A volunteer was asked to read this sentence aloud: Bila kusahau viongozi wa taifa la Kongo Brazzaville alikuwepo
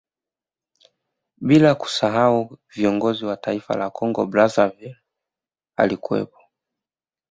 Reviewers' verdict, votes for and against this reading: rejected, 1, 2